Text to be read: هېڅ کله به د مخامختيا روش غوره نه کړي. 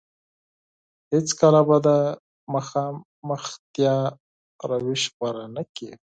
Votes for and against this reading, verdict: 6, 2, accepted